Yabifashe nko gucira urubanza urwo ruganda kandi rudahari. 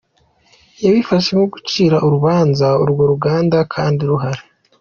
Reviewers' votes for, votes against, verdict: 1, 2, rejected